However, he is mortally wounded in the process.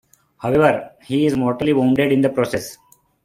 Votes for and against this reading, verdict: 2, 0, accepted